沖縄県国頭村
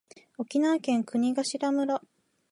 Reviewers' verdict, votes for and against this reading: rejected, 1, 2